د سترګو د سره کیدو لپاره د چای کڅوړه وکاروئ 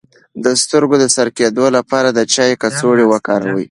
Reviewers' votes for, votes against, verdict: 2, 0, accepted